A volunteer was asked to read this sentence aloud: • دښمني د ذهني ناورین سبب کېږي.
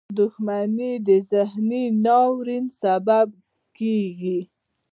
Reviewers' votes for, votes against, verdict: 2, 0, accepted